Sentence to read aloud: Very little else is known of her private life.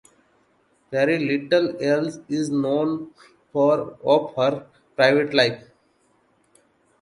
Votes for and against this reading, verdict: 1, 2, rejected